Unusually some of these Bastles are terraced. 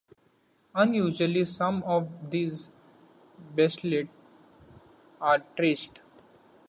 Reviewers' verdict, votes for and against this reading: accepted, 2, 0